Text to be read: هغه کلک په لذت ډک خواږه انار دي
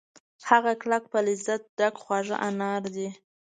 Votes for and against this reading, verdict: 2, 1, accepted